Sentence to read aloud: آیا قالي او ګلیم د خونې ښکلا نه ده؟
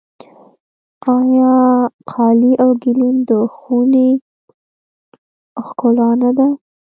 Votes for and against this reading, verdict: 0, 2, rejected